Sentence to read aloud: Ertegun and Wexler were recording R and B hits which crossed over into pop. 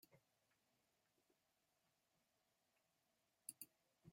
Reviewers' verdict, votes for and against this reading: rejected, 0, 2